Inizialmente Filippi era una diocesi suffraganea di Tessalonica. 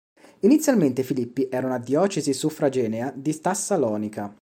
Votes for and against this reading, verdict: 0, 2, rejected